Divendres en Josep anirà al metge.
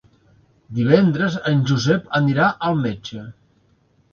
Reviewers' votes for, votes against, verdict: 4, 0, accepted